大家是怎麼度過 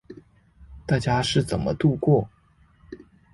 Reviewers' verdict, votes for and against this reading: accepted, 2, 0